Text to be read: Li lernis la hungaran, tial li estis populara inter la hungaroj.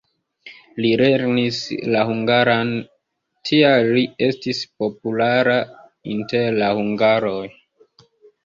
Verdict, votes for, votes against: rejected, 0, 2